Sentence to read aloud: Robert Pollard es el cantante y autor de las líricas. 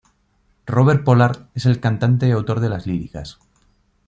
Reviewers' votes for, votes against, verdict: 2, 0, accepted